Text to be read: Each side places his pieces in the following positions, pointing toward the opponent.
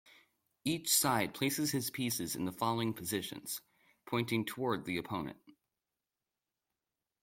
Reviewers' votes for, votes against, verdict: 2, 0, accepted